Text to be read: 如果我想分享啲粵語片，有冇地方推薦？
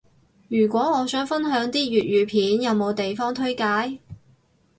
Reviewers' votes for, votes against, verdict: 2, 2, rejected